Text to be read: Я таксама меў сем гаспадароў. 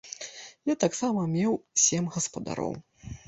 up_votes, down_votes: 2, 0